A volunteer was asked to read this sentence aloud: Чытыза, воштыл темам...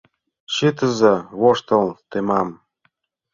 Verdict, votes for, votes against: accepted, 2, 0